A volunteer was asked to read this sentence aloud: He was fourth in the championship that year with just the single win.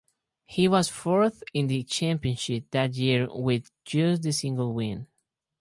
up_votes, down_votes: 2, 0